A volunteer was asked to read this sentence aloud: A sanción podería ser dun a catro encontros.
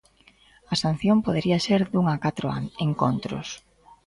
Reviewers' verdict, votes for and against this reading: rejected, 0, 2